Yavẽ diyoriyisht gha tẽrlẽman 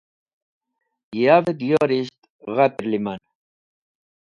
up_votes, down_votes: 0, 2